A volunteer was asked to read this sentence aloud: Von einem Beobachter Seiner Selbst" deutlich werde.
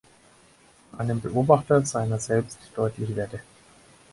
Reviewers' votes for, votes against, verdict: 2, 4, rejected